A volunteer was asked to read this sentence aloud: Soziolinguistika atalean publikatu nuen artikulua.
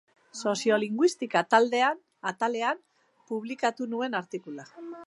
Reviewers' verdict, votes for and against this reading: rejected, 0, 2